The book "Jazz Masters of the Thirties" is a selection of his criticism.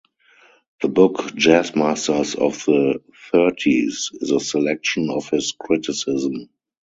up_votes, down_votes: 4, 0